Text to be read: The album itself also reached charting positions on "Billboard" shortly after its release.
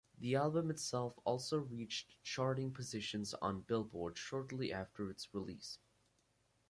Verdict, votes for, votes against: accepted, 4, 2